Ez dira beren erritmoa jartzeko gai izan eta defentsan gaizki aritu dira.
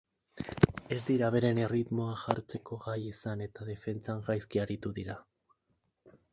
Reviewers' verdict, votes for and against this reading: accepted, 6, 2